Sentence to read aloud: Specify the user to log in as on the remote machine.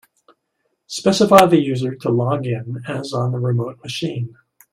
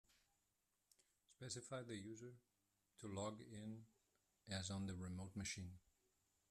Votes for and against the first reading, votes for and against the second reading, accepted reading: 1, 2, 2, 1, second